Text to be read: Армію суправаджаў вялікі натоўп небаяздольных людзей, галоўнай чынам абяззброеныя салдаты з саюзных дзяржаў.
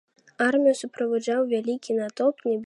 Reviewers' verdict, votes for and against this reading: rejected, 0, 2